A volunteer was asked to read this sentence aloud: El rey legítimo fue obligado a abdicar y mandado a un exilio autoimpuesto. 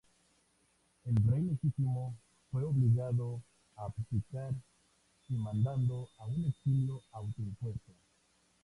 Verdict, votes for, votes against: rejected, 0, 2